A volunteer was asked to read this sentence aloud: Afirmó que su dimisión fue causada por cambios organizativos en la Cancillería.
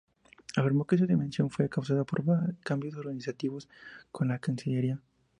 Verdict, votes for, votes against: accepted, 2, 0